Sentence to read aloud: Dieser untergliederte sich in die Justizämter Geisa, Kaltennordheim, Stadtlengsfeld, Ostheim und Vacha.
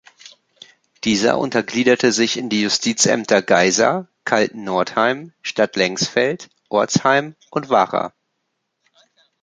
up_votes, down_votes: 0, 2